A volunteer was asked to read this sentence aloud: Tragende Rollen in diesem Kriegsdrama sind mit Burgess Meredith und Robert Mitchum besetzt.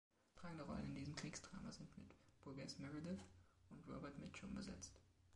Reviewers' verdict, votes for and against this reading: rejected, 0, 2